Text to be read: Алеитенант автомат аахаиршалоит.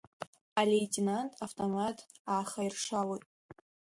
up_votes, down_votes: 2, 0